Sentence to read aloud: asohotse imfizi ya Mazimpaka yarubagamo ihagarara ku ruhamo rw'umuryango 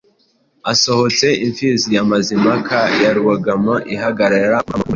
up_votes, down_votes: 1, 2